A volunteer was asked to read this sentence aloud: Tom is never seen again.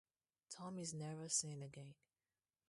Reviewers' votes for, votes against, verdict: 4, 2, accepted